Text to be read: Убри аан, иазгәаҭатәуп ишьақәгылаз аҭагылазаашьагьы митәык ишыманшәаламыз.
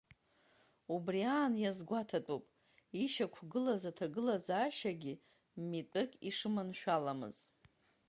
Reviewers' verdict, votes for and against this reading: accepted, 2, 1